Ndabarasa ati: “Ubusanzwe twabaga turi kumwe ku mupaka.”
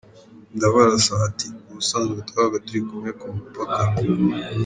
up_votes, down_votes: 2, 1